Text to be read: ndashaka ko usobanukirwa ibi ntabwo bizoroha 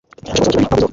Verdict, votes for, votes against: accepted, 2, 0